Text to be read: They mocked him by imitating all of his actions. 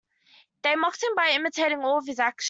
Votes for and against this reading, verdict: 2, 1, accepted